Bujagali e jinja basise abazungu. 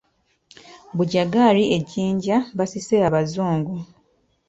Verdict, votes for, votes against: rejected, 0, 2